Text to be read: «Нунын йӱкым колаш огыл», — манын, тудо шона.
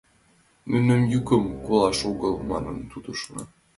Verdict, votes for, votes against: rejected, 0, 2